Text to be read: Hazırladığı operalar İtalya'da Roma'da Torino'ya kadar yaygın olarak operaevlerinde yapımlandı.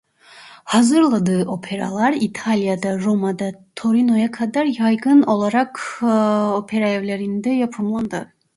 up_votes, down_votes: 1, 2